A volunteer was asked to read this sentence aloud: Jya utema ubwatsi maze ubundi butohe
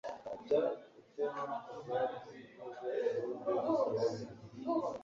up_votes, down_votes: 0, 2